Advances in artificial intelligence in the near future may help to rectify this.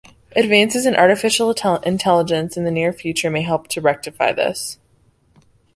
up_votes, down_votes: 1, 2